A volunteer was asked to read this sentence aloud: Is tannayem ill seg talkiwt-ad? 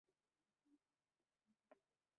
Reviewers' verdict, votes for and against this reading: rejected, 0, 2